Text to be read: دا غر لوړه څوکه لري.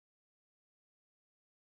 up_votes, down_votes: 1, 2